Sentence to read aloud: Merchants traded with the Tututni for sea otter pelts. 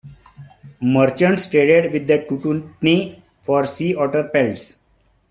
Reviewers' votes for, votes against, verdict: 2, 0, accepted